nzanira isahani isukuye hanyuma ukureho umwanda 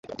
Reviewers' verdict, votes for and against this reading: rejected, 0, 2